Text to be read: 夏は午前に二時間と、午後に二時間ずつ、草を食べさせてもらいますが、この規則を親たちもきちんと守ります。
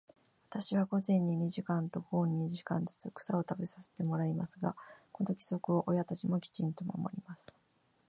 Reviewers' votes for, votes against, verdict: 1, 2, rejected